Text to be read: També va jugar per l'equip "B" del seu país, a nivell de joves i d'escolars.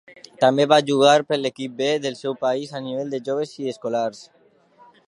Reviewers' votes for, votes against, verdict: 2, 1, accepted